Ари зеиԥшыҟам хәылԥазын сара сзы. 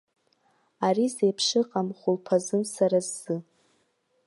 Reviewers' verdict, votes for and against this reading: accepted, 2, 1